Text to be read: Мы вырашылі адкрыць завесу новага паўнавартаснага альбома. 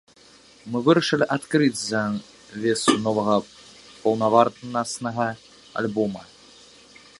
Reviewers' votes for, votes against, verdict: 0, 2, rejected